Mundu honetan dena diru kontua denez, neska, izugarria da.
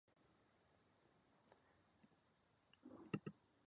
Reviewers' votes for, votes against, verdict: 0, 4, rejected